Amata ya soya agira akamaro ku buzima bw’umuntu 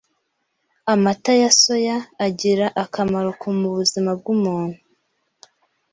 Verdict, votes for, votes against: rejected, 1, 2